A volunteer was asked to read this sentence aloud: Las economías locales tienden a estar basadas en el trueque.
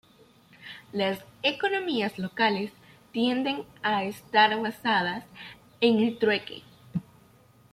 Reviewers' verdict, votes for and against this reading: accepted, 2, 0